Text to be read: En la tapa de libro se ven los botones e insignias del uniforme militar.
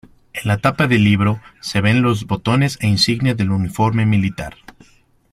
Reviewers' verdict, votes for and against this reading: accepted, 2, 0